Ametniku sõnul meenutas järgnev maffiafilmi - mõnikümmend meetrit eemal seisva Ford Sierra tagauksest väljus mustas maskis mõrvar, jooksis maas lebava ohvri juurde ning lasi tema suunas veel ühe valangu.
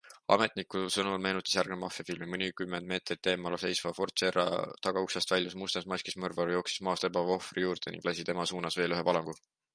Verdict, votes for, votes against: accepted, 2, 1